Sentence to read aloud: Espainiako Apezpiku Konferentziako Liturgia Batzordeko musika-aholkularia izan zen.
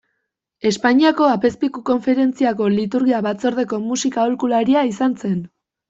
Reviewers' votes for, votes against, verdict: 2, 0, accepted